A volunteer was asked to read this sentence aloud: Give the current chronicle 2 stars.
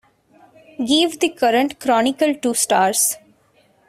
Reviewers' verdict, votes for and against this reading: rejected, 0, 2